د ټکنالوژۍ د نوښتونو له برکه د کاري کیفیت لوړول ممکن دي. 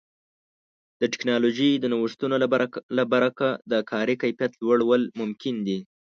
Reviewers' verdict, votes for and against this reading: rejected, 0, 2